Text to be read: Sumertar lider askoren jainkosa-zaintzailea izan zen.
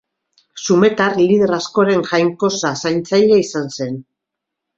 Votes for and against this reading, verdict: 0, 2, rejected